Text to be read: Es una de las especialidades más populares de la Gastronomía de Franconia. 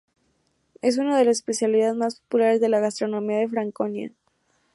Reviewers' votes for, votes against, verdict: 0, 2, rejected